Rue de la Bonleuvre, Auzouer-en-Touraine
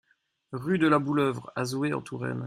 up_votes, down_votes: 1, 2